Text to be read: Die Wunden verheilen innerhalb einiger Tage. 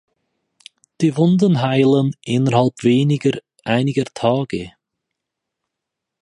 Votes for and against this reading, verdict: 0, 4, rejected